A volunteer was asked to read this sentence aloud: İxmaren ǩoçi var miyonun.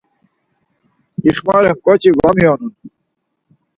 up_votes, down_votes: 4, 0